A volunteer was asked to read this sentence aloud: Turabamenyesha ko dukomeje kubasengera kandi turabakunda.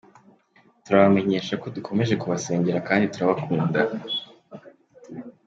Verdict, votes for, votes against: accepted, 2, 0